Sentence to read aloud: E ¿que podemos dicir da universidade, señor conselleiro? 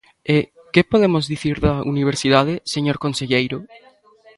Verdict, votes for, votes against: rejected, 1, 2